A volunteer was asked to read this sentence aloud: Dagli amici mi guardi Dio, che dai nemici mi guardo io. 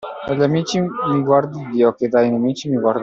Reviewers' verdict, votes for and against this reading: rejected, 0, 2